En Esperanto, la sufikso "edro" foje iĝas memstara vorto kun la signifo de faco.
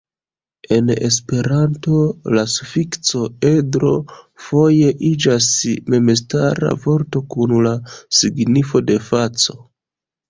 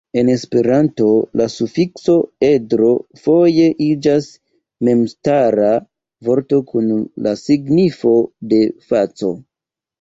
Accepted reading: second